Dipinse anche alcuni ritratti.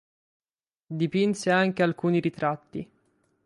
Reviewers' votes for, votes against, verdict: 6, 0, accepted